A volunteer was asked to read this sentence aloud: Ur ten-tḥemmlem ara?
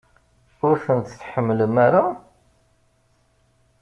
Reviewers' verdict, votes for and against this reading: rejected, 1, 2